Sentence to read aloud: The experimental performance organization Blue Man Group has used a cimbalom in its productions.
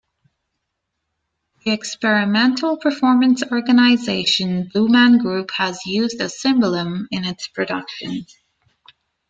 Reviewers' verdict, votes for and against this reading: accepted, 2, 0